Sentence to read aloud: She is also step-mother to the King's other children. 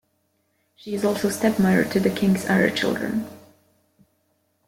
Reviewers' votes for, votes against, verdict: 1, 2, rejected